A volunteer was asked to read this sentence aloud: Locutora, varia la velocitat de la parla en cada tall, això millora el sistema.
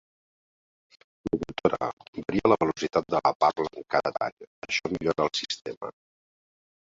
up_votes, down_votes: 0, 2